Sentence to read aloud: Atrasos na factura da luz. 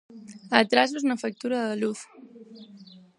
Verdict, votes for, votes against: rejected, 2, 4